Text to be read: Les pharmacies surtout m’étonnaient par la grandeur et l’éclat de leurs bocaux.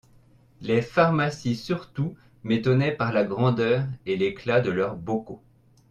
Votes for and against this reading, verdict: 2, 0, accepted